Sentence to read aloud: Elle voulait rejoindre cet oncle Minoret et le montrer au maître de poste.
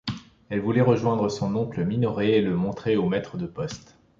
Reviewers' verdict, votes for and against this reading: accepted, 2, 0